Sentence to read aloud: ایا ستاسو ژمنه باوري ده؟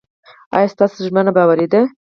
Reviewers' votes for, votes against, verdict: 0, 4, rejected